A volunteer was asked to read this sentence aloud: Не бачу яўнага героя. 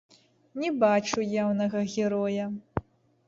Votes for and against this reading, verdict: 0, 2, rejected